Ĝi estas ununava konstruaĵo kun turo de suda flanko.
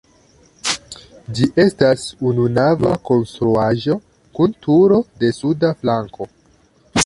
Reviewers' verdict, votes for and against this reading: accepted, 2, 1